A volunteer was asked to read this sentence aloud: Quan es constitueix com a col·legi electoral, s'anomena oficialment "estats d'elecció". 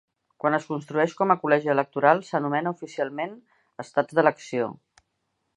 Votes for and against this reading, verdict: 0, 2, rejected